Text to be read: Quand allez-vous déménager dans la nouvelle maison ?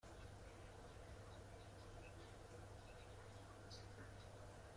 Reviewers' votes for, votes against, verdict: 0, 2, rejected